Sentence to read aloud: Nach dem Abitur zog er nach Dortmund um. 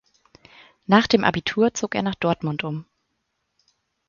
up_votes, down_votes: 4, 0